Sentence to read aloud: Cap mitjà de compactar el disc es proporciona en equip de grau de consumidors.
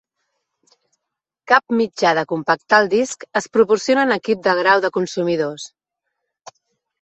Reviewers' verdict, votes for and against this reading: accepted, 2, 0